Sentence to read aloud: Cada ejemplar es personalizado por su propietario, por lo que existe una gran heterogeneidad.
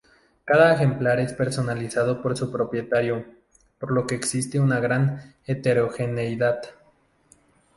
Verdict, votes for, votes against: accepted, 2, 0